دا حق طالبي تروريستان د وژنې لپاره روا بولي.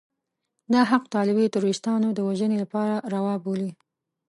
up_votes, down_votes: 2, 0